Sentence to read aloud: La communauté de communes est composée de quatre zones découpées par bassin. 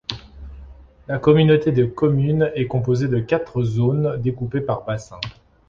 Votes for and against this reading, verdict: 2, 0, accepted